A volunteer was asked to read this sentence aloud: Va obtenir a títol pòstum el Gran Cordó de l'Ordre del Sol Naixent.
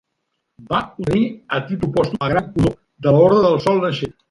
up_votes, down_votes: 0, 2